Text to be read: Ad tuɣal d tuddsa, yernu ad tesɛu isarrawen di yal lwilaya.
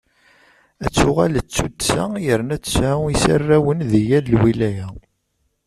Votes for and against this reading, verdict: 1, 2, rejected